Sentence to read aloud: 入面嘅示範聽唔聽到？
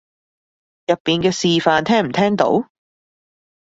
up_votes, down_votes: 0, 2